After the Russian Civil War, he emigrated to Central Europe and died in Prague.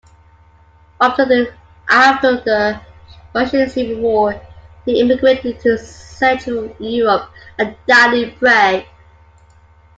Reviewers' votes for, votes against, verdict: 1, 2, rejected